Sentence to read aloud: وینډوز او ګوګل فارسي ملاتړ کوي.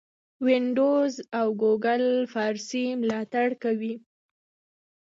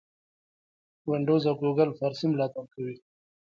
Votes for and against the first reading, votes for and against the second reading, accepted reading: 2, 1, 1, 2, first